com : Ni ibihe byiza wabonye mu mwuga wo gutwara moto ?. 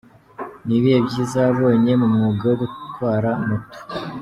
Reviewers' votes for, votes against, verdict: 1, 2, rejected